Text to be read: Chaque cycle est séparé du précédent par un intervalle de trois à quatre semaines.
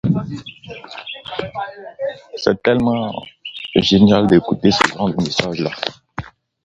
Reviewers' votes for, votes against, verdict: 0, 2, rejected